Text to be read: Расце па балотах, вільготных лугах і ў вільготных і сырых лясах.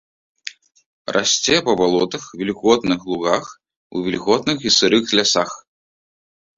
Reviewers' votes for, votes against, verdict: 2, 0, accepted